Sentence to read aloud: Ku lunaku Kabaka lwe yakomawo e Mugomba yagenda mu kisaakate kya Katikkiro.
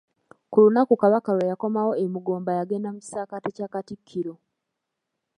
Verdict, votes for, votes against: accepted, 2, 0